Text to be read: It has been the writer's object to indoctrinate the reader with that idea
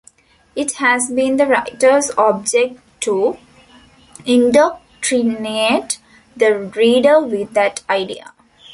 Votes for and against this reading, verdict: 0, 2, rejected